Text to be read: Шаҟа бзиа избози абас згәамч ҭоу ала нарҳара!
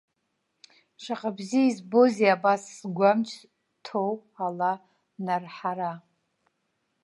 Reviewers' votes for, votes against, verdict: 0, 2, rejected